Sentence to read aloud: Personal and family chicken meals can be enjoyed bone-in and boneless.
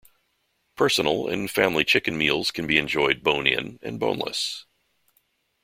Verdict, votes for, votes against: accepted, 2, 0